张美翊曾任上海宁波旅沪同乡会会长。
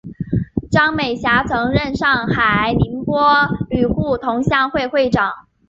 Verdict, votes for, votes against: rejected, 0, 2